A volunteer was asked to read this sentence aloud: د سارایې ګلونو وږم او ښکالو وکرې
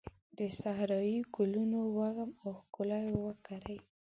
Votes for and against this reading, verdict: 0, 2, rejected